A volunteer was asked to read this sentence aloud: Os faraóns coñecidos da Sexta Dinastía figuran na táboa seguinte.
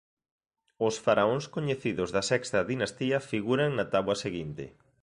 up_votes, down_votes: 2, 0